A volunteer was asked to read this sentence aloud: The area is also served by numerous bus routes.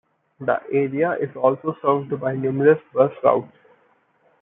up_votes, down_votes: 1, 2